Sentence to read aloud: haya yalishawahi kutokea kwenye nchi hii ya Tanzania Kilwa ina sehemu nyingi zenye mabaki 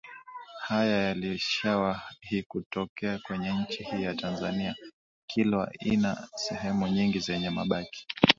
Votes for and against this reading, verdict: 2, 3, rejected